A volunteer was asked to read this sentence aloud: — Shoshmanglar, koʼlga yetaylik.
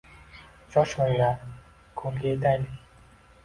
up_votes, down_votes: 2, 0